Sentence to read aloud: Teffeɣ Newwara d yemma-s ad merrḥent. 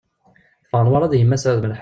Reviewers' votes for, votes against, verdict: 0, 2, rejected